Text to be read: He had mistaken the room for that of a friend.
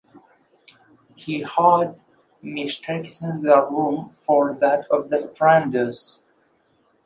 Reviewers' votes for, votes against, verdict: 0, 2, rejected